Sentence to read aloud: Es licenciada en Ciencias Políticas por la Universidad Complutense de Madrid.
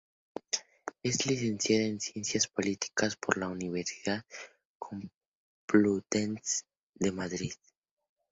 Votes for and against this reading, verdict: 0, 2, rejected